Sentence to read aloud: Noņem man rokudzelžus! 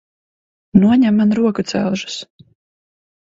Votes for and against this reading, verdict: 2, 0, accepted